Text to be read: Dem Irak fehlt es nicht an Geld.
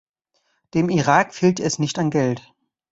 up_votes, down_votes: 2, 0